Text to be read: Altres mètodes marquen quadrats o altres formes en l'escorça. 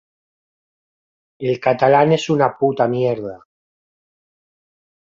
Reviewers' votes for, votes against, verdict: 0, 2, rejected